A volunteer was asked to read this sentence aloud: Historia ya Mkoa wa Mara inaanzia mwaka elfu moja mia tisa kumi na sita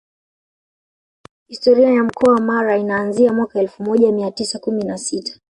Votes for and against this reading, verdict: 2, 0, accepted